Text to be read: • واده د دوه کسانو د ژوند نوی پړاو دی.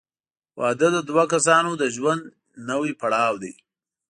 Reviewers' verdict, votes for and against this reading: accepted, 2, 0